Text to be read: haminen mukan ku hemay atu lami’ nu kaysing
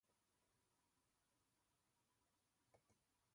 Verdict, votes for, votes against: rejected, 1, 2